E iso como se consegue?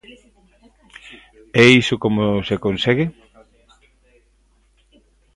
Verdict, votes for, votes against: accepted, 2, 0